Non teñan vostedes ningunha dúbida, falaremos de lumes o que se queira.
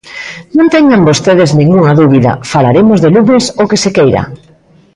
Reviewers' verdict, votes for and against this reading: rejected, 1, 2